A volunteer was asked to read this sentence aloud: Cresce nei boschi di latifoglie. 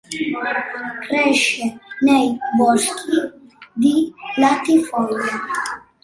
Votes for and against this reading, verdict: 2, 0, accepted